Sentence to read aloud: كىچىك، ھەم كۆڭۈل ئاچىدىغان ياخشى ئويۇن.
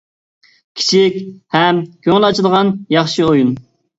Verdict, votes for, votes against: accepted, 2, 0